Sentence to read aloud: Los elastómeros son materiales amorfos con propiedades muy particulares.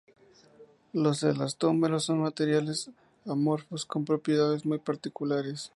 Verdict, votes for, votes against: accepted, 2, 0